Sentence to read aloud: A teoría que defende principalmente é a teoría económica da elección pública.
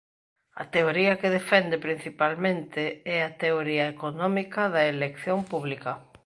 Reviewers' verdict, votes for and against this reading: accepted, 2, 0